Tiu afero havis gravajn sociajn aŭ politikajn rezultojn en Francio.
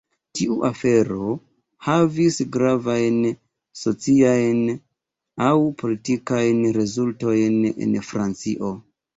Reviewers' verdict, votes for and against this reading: accepted, 2, 0